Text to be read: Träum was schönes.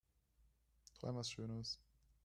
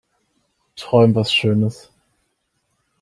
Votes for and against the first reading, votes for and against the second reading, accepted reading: 1, 2, 3, 0, second